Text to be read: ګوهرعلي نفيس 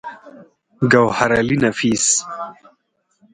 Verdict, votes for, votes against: rejected, 2, 4